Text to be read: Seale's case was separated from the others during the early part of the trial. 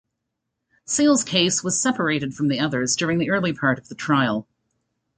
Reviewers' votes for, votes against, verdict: 2, 0, accepted